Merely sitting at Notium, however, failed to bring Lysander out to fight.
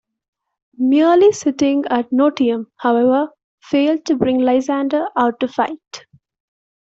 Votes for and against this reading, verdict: 2, 1, accepted